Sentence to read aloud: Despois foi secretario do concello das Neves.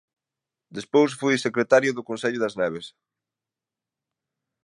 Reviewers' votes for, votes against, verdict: 2, 0, accepted